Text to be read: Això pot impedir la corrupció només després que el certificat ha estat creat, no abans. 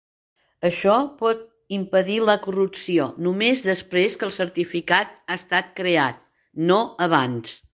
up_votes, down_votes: 3, 0